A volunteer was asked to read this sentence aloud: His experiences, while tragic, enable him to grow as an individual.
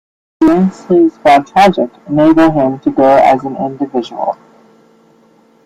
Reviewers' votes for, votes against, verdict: 0, 2, rejected